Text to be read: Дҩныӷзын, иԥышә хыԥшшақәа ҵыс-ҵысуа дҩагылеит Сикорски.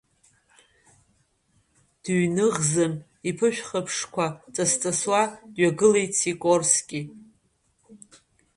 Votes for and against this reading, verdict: 1, 2, rejected